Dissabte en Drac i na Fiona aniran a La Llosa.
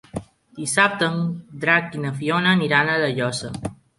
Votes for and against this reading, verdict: 1, 2, rejected